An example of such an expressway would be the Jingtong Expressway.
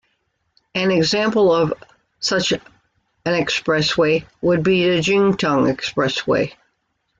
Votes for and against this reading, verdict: 1, 2, rejected